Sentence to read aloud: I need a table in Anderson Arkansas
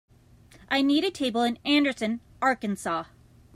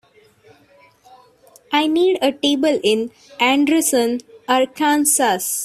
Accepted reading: first